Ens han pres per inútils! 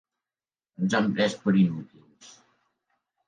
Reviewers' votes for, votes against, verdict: 1, 2, rejected